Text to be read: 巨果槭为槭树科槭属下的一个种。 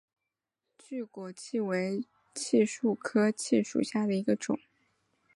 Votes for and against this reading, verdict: 3, 0, accepted